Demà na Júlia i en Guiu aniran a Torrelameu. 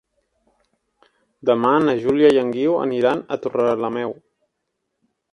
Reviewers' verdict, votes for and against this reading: accepted, 3, 0